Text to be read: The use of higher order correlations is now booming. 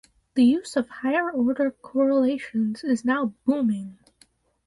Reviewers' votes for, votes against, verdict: 2, 2, rejected